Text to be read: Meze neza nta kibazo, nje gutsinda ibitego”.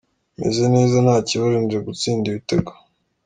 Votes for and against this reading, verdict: 2, 0, accepted